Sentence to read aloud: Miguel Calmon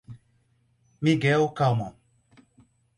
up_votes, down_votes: 4, 0